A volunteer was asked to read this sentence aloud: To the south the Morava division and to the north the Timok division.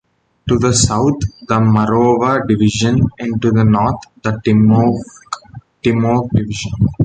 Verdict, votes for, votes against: rejected, 1, 2